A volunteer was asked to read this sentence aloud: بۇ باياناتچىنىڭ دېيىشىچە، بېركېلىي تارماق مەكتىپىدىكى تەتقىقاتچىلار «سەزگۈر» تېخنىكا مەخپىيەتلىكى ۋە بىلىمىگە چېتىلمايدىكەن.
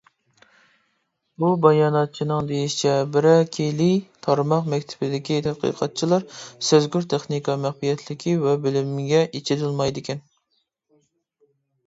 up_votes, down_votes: 0, 2